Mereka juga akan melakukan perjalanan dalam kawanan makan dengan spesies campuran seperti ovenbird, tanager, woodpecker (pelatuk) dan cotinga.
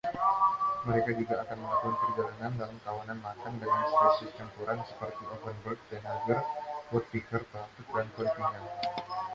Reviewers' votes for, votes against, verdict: 1, 2, rejected